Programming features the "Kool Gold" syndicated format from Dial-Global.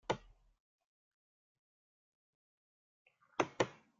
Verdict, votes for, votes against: rejected, 0, 2